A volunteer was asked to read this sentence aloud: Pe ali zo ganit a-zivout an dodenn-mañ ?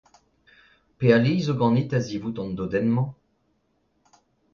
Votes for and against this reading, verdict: 2, 0, accepted